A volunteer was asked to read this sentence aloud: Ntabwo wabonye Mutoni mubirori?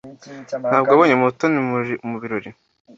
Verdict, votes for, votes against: accepted, 2, 0